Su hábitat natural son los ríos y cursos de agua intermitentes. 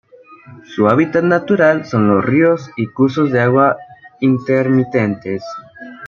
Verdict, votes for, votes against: accepted, 2, 0